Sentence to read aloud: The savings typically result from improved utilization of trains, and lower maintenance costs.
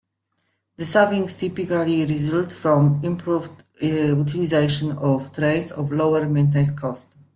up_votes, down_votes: 1, 2